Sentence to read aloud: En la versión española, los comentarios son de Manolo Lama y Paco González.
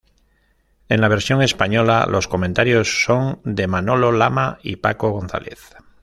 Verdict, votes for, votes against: accepted, 2, 0